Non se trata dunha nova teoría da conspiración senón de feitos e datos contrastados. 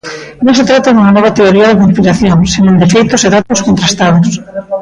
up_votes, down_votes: 0, 2